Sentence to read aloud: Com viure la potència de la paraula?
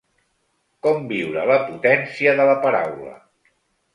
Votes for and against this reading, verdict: 0, 2, rejected